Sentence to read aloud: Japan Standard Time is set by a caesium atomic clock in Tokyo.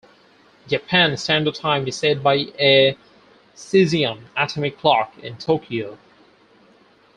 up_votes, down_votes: 4, 0